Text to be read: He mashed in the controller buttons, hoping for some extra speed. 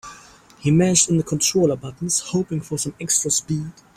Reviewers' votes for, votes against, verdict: 3, 0, accepted